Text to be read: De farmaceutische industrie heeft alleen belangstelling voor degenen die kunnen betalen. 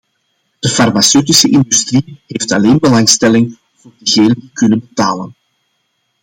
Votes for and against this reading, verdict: 1, 2, rejected